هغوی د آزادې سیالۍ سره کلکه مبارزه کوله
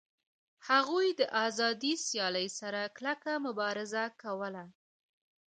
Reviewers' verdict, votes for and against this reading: rejected, 1, 2